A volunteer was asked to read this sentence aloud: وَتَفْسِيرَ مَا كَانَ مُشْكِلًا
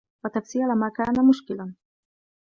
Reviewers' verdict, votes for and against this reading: accepted, 2, 1